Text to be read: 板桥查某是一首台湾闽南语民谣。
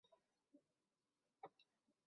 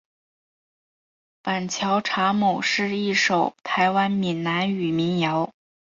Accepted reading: second